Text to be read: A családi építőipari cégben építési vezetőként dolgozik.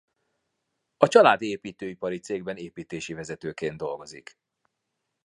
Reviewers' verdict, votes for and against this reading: accepted, 2, 0